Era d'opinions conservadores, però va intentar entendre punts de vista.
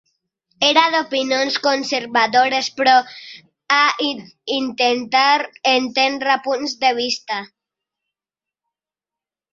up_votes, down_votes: 0, 2